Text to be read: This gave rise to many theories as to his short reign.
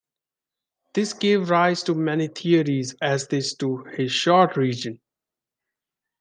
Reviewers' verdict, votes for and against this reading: accepted, 2, 0